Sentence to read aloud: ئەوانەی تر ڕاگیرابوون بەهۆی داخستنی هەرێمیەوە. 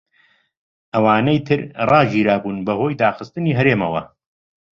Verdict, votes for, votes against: accepted, 2, 0